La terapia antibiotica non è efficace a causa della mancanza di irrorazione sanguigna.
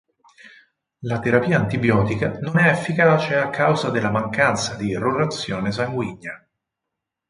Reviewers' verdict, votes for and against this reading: accepted, 4, 0